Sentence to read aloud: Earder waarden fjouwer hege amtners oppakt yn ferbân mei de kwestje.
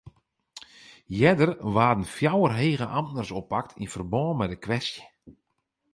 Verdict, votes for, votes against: accepted, 4, 0